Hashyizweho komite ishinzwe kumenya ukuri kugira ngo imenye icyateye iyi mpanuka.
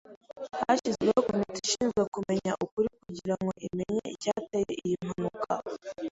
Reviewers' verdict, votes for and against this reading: accepted, 3, 0